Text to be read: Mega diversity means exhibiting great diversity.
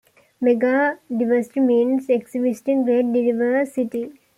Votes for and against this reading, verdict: 1, 2, rejected